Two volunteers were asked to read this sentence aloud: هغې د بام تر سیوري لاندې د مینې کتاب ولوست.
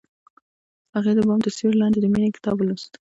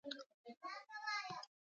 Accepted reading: first